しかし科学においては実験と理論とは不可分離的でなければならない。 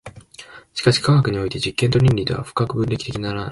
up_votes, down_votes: 0, 2